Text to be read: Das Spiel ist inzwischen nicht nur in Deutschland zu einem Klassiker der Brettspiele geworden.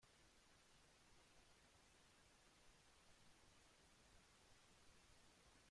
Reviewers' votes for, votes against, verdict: 0, 2, rejected